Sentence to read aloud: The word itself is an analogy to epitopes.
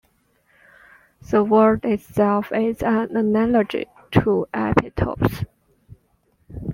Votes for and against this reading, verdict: 2, 0, accepted